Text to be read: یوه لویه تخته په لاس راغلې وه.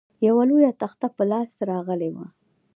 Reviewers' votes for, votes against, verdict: 0, 2, rejected